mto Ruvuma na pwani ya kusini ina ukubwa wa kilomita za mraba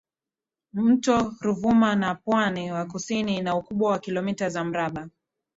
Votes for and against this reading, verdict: 2, 0, accepted